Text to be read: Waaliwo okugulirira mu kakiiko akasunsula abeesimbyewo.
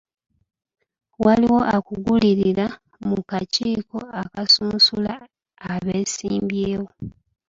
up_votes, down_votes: 1, 2